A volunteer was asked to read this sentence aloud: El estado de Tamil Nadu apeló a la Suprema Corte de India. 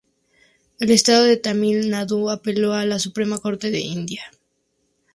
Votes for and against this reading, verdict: 0, 2, rejected